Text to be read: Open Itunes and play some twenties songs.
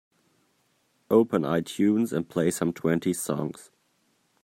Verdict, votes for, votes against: accepted, 2, 0